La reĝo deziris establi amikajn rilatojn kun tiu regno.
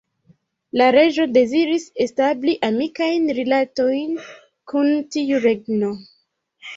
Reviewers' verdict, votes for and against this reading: accepted, 3, 0